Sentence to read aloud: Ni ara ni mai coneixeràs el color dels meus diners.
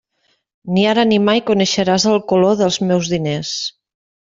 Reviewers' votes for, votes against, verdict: 3, 0, accepted